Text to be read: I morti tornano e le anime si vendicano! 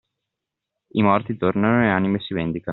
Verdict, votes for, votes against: accepted, 2, 0